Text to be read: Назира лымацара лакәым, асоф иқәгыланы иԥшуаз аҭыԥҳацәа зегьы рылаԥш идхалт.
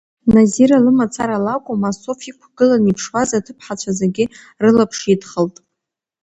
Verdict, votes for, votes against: rejected, 1, 2